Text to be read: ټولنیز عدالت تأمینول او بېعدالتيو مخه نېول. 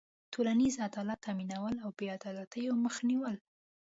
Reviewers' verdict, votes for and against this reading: accepted, 2, 0